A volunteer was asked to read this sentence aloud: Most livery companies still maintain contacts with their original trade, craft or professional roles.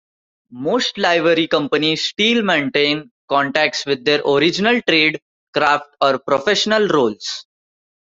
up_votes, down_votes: 2, 1